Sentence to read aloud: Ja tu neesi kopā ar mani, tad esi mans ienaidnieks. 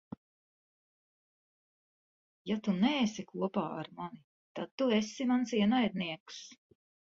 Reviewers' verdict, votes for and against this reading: rejected, 0, 2